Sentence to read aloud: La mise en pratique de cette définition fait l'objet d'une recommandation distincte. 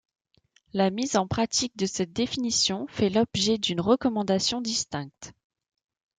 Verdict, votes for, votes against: accepted, 2, 0